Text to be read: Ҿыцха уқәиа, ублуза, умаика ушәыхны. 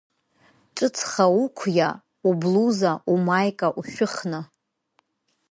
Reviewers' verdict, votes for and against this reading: accepted, 3, 0